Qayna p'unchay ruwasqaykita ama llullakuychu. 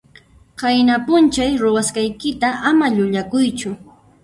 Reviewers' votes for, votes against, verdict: 1, 2, rejected